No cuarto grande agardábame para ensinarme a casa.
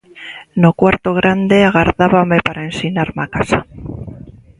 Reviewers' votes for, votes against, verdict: 2, 0, accepted